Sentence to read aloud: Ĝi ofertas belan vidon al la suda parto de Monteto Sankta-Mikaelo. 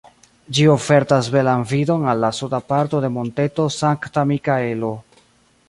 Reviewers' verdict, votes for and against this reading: rejected, 0, 2